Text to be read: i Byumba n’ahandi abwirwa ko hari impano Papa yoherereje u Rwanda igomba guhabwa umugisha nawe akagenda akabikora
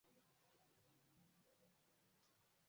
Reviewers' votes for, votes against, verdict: 0, 2, rejected